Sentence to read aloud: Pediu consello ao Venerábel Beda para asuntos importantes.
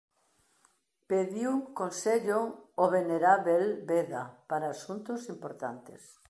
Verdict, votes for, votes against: rejected, 1, 2